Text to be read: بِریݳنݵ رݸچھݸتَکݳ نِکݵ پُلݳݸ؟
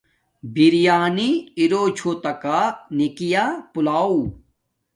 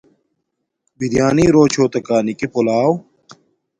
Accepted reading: second